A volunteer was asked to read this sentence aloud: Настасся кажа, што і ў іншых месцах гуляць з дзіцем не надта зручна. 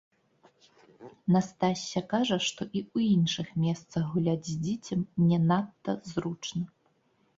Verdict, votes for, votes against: rejected, 0, 2